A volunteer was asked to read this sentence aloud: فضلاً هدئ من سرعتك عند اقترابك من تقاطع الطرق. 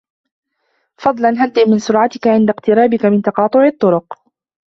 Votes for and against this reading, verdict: 3, 1, accepted